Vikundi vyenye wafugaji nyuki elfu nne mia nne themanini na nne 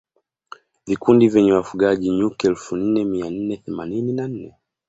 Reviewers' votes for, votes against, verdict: 2, 0, accepted